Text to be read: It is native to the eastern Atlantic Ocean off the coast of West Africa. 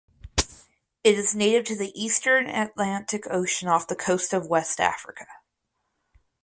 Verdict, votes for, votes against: accepted, 4, 0